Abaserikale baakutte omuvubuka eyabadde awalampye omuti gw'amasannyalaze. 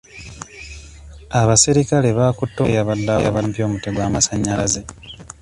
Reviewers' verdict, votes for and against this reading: rejected, 0, 2